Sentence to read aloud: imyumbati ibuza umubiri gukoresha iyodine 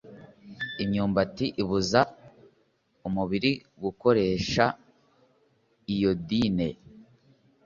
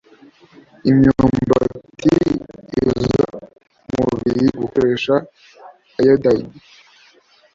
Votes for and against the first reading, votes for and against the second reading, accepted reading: 2, 0, 1, 2, first